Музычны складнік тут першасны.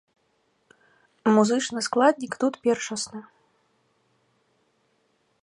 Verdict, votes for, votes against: accepted, 2, 0